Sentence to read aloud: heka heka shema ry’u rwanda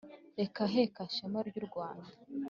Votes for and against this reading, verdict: 2, 0, accepted